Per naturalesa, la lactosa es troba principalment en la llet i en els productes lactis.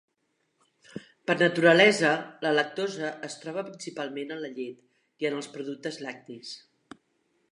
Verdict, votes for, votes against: accepted, 2, 0